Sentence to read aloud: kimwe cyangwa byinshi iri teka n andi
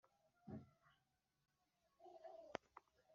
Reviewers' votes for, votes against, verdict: 0, 2, rejected